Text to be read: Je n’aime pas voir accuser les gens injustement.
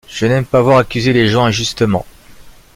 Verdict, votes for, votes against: accepted, 2, 0